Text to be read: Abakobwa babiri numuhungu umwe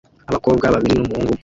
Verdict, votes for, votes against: rejected, 0, 2